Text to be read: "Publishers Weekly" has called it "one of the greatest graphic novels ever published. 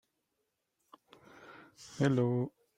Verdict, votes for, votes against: rejected, 0, 2